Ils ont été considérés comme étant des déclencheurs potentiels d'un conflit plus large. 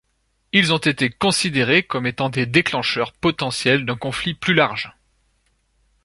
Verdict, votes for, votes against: accepted, 2, 0